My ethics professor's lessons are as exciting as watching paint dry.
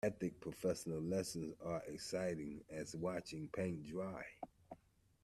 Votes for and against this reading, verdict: 1, 2, rejected